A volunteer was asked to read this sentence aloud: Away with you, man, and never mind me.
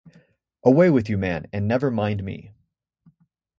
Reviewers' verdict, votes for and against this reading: accepted, 2, 0